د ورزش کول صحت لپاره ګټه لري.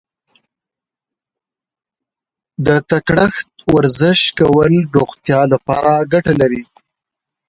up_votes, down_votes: 1, 2